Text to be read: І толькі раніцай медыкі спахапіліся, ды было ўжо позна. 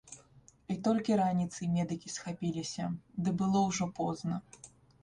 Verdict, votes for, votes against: rejected, 1, 2